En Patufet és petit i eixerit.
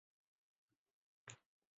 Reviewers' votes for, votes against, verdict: 1, 3, rejected